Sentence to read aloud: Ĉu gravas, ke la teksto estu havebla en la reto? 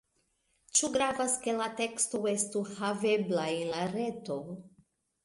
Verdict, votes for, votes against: accepted, 2, 0